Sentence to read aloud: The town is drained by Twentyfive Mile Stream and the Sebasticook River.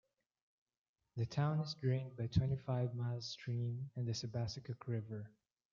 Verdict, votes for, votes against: rejected, 1, 2